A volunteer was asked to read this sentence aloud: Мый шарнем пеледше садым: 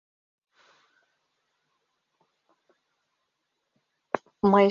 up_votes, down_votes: 1, 2